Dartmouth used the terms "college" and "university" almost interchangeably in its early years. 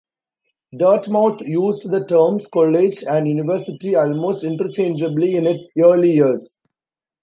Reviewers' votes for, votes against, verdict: 2, 0, accepted